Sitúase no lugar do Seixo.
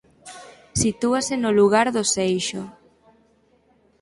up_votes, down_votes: 4, 0